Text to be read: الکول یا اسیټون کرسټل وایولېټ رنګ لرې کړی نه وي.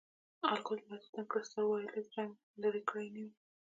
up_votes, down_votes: 1, 2